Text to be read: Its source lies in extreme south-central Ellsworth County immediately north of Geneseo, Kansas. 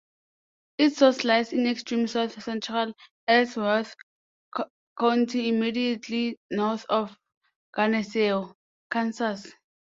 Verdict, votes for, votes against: rejected, 0, 2